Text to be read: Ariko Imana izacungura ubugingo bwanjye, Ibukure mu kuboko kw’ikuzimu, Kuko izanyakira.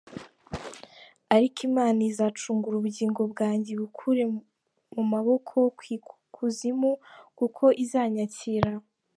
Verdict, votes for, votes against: accepted, 2, 0